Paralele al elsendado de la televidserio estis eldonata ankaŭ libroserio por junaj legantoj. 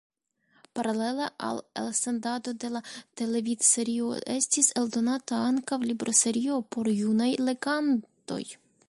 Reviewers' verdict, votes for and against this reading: rejected, 1, 2